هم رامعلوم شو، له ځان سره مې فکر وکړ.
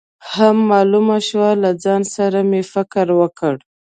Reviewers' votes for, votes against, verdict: 0, 2, rejected